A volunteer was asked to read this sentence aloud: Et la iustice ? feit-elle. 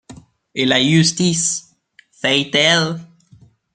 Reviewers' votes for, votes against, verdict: 1, 2, rejected